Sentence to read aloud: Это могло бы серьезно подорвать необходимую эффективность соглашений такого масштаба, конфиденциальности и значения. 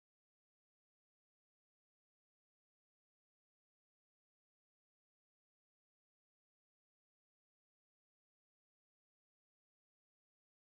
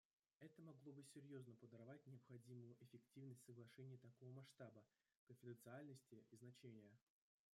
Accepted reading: second